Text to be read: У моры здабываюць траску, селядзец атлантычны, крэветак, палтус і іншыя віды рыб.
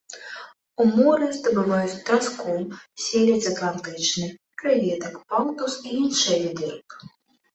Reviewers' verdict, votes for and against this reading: rejected, 0, 3